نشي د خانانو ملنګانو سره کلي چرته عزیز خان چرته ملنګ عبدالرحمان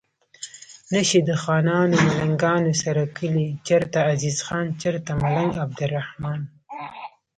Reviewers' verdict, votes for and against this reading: accepted, 3, 0